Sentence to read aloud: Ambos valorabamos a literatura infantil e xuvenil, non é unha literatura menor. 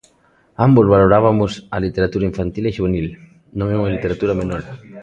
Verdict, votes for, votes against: rejected, 0, 2